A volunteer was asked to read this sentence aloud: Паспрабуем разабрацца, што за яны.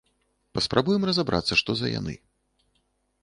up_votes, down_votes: 2, 0